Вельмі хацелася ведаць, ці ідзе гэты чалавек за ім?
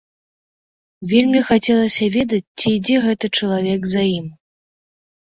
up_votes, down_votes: 2, 0